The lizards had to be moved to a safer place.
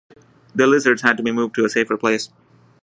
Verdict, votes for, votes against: accepted, 3, 0